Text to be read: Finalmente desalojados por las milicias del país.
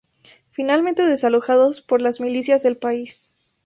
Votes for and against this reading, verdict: 2, 0, accepted